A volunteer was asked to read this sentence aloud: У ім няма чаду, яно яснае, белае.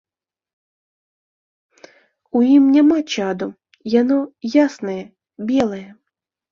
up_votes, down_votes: 1, 2